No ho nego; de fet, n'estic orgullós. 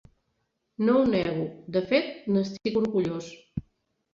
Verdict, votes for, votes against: rejected, 0, 2